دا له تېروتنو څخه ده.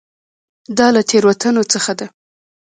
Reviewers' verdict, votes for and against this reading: accepted, 2, 0